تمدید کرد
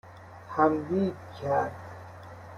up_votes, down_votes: 0, 2